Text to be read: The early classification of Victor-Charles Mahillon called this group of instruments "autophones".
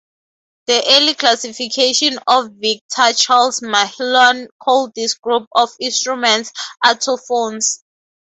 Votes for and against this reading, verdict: 2, 2, rejected